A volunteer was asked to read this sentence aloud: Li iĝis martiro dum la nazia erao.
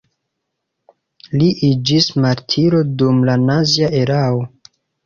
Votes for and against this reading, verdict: 0, 2, rejected